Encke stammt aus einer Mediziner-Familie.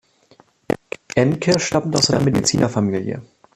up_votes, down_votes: 0, 3